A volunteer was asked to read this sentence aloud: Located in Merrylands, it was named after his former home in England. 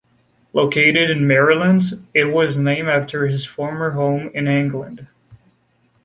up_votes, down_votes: 2, 0